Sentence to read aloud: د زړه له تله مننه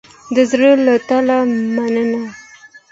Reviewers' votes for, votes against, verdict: 2, 0, accepted